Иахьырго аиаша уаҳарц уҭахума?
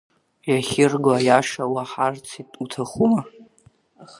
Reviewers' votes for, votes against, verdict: 2, 1, accepted